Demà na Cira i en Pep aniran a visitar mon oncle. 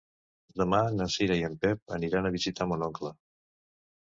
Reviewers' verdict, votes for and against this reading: accepted, 2, 0